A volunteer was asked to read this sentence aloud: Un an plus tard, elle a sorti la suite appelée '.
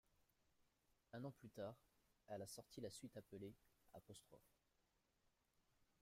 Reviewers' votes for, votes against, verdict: 0, 2, rejected